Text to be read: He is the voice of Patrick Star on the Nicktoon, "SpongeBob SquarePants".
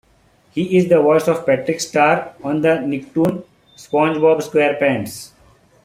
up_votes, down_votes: 0, 2